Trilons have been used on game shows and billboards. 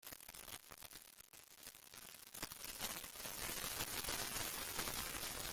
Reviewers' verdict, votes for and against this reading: rejected, 0, 2